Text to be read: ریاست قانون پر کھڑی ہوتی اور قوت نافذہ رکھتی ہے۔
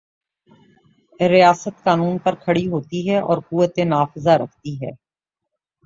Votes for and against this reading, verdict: 3, 0, accepted